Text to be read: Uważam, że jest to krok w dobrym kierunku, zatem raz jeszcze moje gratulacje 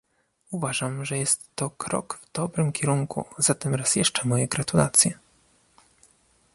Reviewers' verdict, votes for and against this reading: rejected, 1, 2